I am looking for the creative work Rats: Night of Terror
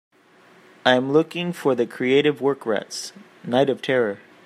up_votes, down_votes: 1, 2